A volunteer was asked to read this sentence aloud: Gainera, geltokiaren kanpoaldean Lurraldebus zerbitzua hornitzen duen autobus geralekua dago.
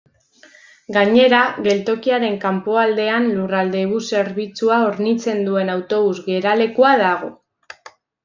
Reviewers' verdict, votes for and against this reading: accepted, 2, 0